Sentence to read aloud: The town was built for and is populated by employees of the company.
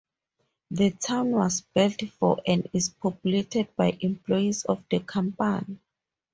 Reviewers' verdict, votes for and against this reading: rejected, 2, 2